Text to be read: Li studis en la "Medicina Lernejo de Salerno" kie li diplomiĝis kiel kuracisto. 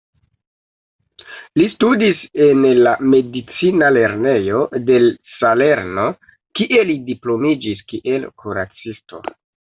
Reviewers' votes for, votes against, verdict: 1, 2, rejected